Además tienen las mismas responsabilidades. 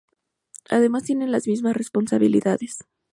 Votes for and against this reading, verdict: 2, 0, accepted